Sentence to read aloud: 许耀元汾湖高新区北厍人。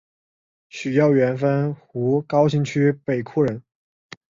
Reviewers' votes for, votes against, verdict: 2, 0, accepted